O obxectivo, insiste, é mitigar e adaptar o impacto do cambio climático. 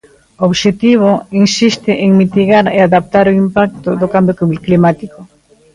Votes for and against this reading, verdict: 0, 2, rejected